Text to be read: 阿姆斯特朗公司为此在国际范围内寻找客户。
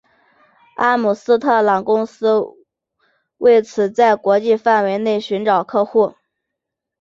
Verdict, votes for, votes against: accepted, 2, 0